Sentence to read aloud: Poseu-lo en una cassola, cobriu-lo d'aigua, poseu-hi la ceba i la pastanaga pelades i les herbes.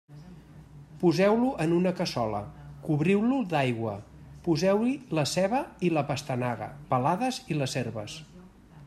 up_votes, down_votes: 0, 2